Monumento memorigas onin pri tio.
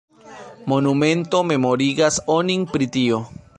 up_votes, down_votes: 2, 0